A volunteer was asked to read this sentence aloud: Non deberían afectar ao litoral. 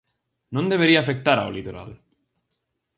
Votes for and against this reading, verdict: 0, 2, rejected